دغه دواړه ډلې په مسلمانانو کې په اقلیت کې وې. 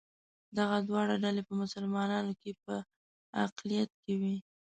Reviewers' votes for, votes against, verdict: 2, 0, accepted